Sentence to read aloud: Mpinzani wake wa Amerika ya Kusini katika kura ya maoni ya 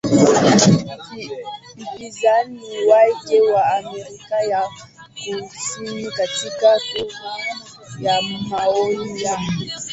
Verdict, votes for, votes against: rejected, 0, 2